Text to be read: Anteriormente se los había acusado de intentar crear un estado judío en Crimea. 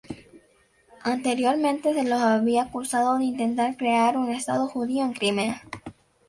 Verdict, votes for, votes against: accepted, 2, 0